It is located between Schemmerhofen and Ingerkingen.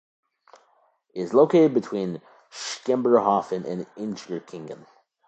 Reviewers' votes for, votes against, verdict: 1, 2, rejected